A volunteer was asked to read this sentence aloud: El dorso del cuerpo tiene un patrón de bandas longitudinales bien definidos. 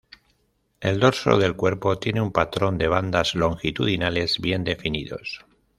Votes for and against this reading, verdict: 2, 0, accepted